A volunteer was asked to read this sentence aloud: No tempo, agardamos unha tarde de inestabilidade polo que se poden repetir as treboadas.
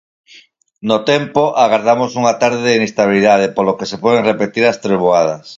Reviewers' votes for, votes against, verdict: 4, 0, accepted